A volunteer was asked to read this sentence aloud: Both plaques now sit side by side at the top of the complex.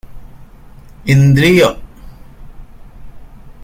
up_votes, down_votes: 0, 2